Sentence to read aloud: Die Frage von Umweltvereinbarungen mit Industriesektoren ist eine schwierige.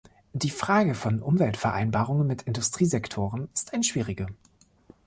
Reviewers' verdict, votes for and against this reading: rejected, 3, 4